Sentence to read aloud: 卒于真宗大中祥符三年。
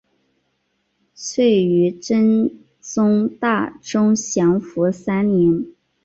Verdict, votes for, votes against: accepted, 4, 1